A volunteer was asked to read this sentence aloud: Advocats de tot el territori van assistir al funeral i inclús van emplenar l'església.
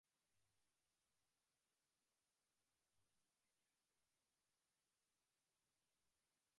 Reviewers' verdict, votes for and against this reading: rejected, 0, 3